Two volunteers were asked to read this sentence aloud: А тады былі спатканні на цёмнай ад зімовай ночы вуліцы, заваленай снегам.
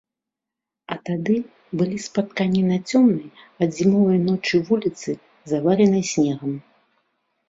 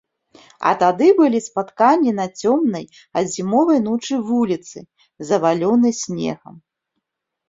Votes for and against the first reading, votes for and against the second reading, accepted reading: 2, 0, 0, 2, first